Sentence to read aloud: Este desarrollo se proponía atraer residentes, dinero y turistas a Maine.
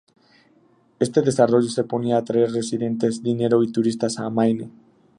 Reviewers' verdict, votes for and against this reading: accepted, 4, 0